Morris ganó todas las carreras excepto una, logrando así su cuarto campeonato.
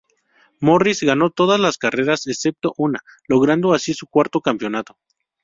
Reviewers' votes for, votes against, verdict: 2, 2, rejected